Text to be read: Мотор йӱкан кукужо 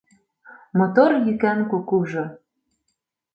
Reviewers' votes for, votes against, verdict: 2, 0, accepted